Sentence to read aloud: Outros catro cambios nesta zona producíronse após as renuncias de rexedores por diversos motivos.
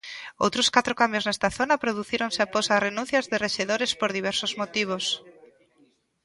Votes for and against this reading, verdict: 1, 2, rejected